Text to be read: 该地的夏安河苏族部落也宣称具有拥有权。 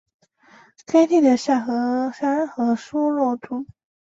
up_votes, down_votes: 0, 2